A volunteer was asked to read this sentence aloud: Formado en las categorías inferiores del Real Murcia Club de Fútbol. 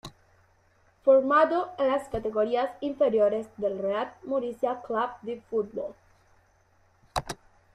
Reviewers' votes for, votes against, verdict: 0, 2, rejected